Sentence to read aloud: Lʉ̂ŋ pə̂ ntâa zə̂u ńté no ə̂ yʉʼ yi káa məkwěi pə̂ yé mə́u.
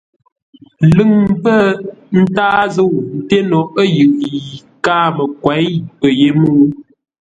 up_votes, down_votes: 2, 0